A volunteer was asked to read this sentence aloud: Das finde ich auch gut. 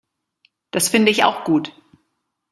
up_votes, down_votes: 2, 0